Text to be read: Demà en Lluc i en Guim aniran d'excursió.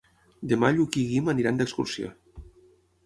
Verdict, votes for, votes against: rejected, 0, 6